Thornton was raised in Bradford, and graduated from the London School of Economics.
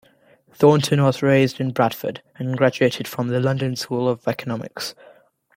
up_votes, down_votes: 2, 0